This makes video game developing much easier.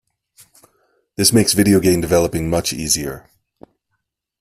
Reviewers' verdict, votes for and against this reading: accepted, 2, 0